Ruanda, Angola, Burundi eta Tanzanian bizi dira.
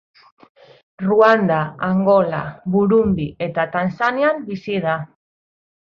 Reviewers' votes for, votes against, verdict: 0, 2, rejected